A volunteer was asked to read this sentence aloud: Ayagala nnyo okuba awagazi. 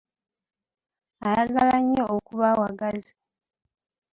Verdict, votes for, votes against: accepted, 2, 0